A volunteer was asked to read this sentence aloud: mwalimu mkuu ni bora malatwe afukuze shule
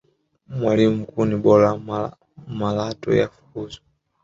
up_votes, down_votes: 1, 2